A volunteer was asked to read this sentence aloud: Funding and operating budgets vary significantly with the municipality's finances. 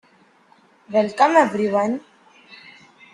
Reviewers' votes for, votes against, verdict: 0, 2, rejected